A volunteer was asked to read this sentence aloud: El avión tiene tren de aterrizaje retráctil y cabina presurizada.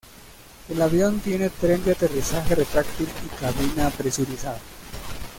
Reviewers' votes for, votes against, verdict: 2, 0, accepted